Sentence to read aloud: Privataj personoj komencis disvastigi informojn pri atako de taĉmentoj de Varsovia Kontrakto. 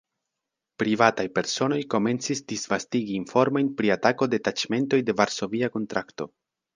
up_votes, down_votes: 3, 1